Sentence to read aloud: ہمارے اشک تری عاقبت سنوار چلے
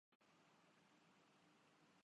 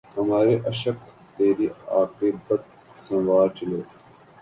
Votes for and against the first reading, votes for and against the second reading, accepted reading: 0, 2, 3, 0, second